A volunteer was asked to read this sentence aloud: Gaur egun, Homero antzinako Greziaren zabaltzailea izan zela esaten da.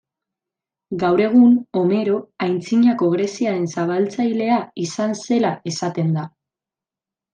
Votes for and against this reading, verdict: 2, 0, accepted